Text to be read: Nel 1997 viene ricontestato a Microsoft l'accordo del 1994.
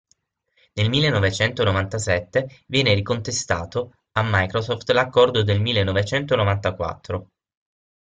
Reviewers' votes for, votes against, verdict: 0, 2, rejected